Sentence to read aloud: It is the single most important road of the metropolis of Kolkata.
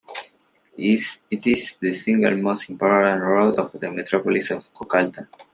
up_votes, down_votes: 0, 2